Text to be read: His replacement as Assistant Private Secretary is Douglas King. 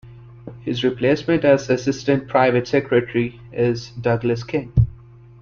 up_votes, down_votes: 2, 0